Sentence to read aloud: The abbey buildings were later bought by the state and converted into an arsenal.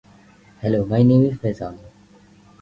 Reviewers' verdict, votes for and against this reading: rejected, 0, 2